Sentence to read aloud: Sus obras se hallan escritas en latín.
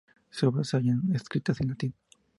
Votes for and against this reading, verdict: 2, 0, accepted